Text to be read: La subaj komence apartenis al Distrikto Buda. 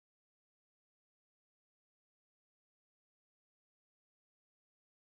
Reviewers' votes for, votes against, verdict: 2, 1, accepted